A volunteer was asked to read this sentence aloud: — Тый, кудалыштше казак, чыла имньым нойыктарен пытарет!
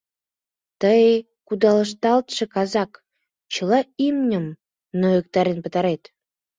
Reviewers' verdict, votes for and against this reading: rejected, 1, 3